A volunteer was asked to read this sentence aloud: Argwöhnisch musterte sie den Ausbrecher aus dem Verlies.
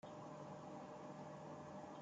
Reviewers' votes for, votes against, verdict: 0, 2, rejected